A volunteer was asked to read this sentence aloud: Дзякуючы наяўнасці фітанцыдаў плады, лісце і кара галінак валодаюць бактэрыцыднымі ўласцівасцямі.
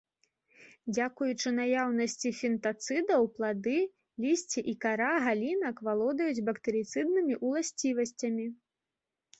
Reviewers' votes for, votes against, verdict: 2, 0, accepted